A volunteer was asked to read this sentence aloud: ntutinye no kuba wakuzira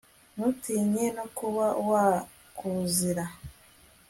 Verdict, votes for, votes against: accepted, 2, 0